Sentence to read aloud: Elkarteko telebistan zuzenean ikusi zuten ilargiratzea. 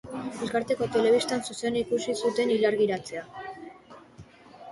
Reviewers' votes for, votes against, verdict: 2, 0, accepted